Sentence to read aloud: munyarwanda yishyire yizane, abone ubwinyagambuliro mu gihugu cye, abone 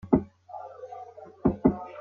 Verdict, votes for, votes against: rejected, 0, 4